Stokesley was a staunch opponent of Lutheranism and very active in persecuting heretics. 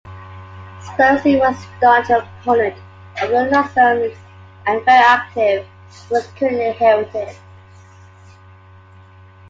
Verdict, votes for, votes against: rejected, 0, 2